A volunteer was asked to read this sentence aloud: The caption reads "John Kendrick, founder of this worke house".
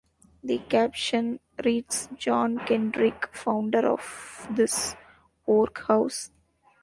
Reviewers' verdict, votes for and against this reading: accepted, 2, 1